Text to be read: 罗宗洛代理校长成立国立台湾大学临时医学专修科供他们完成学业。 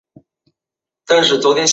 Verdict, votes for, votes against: rejected, 0, 3